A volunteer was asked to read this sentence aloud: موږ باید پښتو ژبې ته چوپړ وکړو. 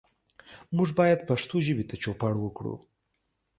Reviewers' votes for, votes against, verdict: 2, 0, accepted